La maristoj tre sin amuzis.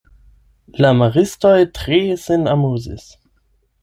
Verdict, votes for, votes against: accepted, 8, 0